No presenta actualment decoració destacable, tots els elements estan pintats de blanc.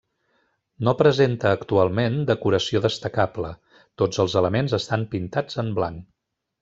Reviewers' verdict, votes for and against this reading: rejected, 1, 2